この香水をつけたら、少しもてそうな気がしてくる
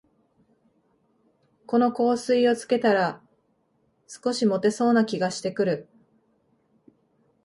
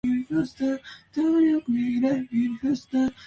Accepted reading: first